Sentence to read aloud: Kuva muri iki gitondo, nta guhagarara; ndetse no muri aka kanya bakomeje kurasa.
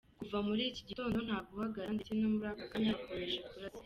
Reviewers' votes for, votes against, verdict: 1, 2, rejected